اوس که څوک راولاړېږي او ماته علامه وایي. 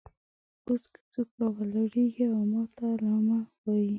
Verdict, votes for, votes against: rejected, 0, 2